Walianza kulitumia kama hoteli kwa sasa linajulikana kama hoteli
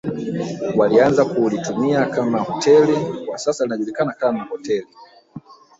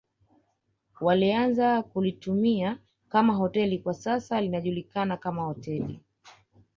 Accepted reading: second